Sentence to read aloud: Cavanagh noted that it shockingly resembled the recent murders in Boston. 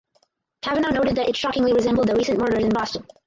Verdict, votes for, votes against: rejected, 0, 4